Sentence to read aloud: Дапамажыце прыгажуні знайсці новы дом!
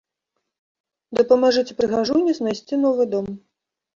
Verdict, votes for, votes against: accepted, 2, 0